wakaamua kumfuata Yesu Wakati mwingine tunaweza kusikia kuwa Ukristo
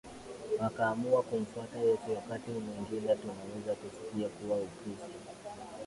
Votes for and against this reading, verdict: 0, 2, rejected